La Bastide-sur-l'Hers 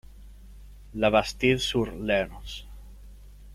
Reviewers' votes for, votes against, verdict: 0, 2, rejected